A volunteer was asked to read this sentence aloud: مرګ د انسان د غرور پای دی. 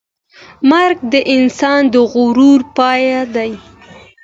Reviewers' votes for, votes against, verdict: 2, 0, accepted